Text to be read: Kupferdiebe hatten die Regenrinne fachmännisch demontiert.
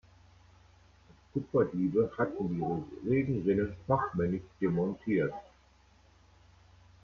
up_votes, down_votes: 0, 2